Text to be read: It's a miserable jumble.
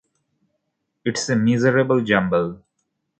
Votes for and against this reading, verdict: 3, 0, accepted